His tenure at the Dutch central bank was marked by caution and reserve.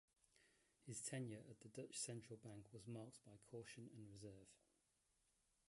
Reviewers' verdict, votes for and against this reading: rejected, 0, 2